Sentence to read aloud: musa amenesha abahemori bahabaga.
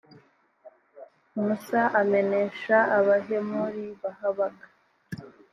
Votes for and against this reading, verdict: 2, 0, accepted